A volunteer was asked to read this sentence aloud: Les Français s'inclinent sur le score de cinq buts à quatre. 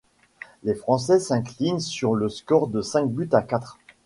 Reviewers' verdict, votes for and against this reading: rejected, 1, 2